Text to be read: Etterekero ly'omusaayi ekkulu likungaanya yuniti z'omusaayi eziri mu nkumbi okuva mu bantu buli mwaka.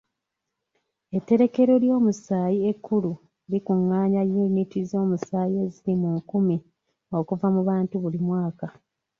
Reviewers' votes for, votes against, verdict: 1, 2, rejected